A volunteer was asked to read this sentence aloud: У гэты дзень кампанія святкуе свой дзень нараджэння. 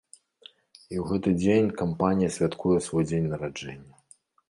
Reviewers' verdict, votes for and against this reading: rejected, 0, 2